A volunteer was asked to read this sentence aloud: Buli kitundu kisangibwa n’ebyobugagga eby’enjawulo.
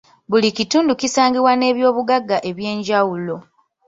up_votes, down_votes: 0, 2